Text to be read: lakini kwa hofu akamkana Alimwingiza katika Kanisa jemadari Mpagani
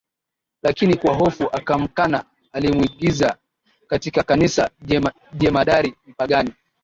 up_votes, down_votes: 1, 2